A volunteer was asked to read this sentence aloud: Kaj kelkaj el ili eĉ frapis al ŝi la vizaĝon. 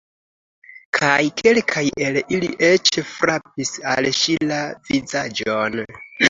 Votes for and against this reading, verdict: 2, 0, accepted